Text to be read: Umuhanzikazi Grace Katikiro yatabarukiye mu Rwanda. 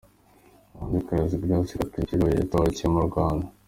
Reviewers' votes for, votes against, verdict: 1, 2, rejected